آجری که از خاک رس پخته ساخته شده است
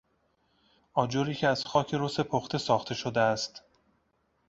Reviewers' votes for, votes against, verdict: 2, 0, accepted